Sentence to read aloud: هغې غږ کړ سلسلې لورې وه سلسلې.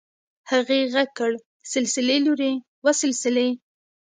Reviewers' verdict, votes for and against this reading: accepted, 2, 0